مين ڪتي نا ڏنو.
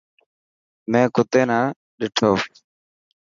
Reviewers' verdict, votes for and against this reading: accepted, 2, 0